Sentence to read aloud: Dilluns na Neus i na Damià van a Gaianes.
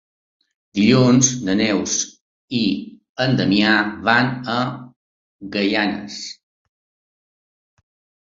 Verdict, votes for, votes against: rejected, 0, 2